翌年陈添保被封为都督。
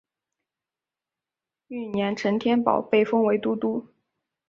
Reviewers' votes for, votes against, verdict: 2, 0, accepted